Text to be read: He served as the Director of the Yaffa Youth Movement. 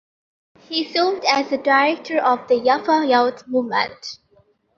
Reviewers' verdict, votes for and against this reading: rejected, 0, 2